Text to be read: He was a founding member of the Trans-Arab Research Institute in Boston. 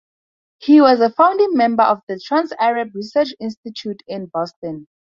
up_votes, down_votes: 2, 0